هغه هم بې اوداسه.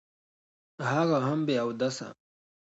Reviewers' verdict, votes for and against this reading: accepted, 2, 0